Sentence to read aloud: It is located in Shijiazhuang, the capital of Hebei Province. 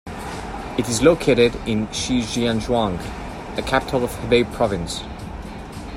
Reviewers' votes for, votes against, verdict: 2, 0, accepted